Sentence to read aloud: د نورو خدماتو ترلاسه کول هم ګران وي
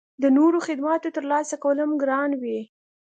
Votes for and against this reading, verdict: 2, 0, accepted